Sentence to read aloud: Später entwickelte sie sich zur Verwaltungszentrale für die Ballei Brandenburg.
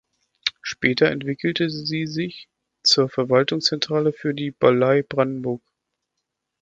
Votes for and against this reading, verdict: 1, 2, rejected